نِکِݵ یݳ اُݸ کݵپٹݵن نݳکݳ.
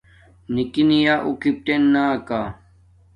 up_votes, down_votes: 1, 2